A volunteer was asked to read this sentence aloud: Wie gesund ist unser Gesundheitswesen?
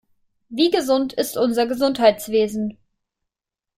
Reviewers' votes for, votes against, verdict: 2, 0, accepted